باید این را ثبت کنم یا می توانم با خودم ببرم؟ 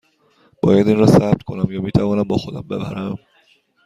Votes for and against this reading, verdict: 2, 0, accepted